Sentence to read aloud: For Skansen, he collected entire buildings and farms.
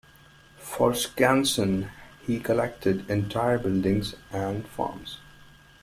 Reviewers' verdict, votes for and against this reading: accepted, 2, 0